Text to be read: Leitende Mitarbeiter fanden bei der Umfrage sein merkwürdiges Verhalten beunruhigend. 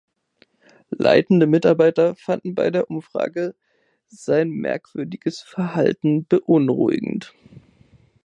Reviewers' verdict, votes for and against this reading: accepted, 2, 0